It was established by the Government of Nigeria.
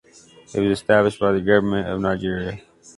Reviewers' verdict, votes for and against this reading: accepted, 2, 0